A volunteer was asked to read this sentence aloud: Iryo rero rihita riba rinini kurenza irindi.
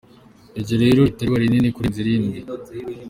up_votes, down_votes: 2, 1